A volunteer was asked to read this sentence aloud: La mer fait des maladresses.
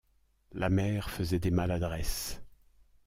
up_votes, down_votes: 1, 2